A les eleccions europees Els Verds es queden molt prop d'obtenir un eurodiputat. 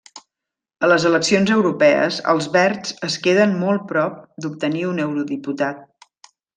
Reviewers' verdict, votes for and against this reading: accepted, 3, 0